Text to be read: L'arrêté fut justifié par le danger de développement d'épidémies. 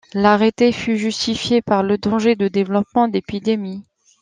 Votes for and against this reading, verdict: 2, 0, accepted